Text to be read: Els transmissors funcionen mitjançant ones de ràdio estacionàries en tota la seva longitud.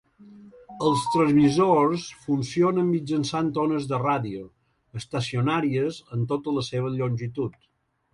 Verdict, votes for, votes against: accepted, 2, 1